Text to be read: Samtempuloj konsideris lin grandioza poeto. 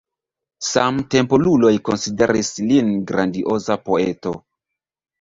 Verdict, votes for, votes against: accepted, 2, 0